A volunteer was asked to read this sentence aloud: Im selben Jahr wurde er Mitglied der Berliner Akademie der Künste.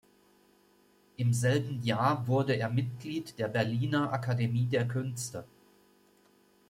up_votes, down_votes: 2, 0